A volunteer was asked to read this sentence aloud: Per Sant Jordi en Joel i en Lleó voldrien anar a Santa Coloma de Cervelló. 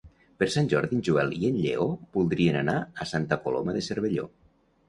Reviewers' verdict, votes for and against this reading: accepted, 2, 0